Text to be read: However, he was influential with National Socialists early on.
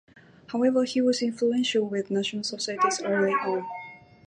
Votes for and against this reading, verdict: 2, 2, rejected